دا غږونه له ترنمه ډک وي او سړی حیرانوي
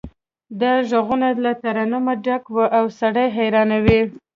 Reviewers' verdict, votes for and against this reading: accepted, 2, 1